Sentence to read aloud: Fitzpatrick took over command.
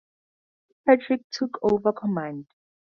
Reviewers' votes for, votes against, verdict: 0, 2, rejected